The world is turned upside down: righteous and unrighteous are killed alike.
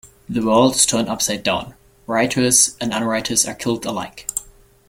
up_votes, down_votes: 1, 2